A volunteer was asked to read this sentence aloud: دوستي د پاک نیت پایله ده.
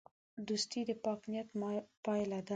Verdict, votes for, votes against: accepted, 2, 0